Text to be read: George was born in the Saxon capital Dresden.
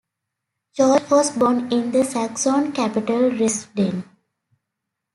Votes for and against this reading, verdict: 2, 1, accepted